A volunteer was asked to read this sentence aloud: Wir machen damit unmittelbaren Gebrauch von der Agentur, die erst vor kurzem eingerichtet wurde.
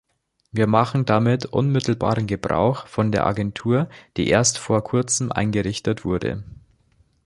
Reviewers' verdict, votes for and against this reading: accepted, 2, 0